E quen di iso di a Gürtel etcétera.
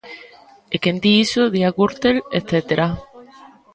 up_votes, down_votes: 1, 2